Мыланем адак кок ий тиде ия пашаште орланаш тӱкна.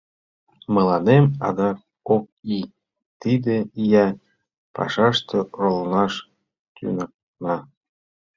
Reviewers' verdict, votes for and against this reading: rejected, 0, 2